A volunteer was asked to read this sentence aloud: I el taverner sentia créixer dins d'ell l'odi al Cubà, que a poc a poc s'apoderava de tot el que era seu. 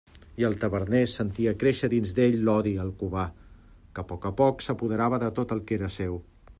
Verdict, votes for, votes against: accepted, 2, 0